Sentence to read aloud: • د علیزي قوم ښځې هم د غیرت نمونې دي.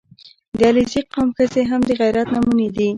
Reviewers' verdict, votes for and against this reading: accepted, 2, 0